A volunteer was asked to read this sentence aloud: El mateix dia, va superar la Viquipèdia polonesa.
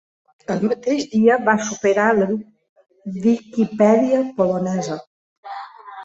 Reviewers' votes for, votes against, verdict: 0, 3, rejected